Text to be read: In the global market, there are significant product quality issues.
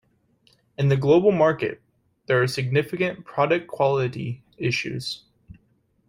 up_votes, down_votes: 2, 0